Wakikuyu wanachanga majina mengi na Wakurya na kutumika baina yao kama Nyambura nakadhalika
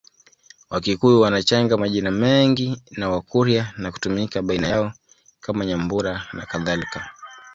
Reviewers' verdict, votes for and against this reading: accepted, 2, 1